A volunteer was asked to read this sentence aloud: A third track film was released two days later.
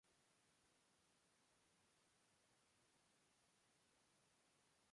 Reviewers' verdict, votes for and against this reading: rejected, 0, 2